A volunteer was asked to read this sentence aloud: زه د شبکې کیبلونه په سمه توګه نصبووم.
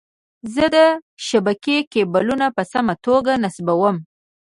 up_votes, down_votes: 1, 2